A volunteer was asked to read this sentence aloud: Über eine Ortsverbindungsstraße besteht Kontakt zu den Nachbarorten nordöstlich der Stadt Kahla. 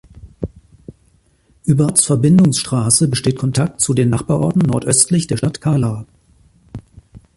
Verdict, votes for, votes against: rejected, 0, 2